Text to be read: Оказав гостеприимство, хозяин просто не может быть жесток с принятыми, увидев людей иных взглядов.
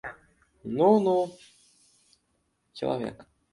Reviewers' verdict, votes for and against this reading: rejected, 0, 2